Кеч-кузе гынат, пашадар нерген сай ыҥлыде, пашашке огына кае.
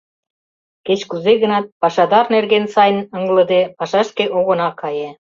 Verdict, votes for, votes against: rejected, 1, 2